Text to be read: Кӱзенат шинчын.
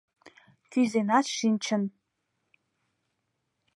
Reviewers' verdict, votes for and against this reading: accepted, 2, 0